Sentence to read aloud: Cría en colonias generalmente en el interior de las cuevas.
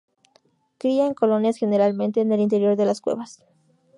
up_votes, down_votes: 2, 0